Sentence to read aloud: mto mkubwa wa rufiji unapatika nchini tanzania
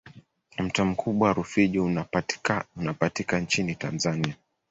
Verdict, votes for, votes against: rejected, 0, 2